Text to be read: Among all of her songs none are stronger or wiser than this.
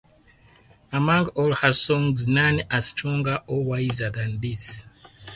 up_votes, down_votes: 2, 2